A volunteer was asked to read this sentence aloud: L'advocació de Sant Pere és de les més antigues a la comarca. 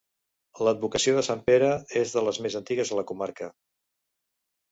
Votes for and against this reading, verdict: 4, 0, accepted